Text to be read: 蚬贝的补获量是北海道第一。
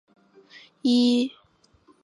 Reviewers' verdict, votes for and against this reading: rejected, 0, 2